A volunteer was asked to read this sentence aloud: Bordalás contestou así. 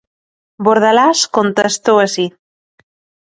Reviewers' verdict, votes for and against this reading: rejected, 1, 2